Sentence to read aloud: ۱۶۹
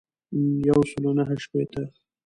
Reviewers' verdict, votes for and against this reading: rejected, 0, 2